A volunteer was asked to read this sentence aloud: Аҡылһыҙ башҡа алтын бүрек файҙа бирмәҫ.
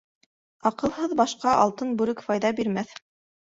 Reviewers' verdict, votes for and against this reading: accepted, 2, 0